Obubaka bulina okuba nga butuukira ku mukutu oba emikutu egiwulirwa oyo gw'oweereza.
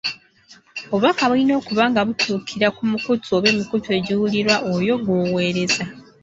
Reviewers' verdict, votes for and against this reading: accepted, 2, 0